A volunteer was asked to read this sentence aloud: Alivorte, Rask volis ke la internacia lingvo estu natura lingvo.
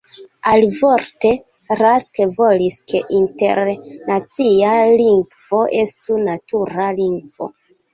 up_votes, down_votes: 0, 2